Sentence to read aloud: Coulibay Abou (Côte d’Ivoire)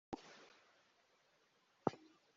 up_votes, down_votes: 0, 2